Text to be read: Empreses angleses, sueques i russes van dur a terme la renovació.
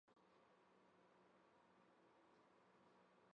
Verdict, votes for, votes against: rejected, 0, 3